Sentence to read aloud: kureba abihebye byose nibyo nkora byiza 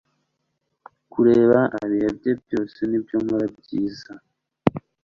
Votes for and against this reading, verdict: 2, 0, accepted